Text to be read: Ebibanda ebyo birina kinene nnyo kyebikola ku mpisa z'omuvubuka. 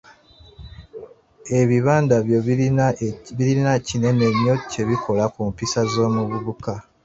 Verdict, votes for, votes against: rejected, 0, 3